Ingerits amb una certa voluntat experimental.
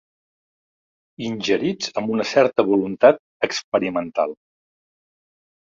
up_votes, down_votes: 4, 0